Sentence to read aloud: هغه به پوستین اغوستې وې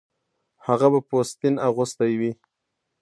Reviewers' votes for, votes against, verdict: 1, 2, rejected